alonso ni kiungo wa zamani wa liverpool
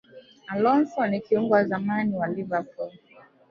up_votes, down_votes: 0, 2